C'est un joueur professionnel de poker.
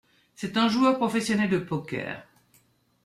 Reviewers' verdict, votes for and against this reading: rejected, 1, 2